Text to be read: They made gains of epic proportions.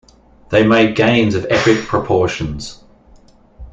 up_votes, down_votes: 2, 1